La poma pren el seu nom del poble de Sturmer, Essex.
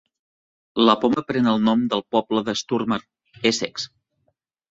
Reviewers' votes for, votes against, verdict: 0, 2, rejected